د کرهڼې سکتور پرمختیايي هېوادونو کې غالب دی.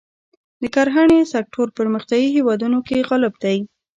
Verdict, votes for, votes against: accepted, 3, 0